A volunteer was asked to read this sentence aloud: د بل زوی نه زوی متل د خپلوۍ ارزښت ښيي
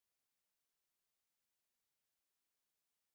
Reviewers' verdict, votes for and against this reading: accepted, 2, 0